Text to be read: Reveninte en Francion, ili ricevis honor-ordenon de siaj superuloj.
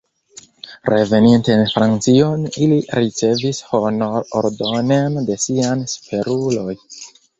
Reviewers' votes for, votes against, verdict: 1, 2, rejected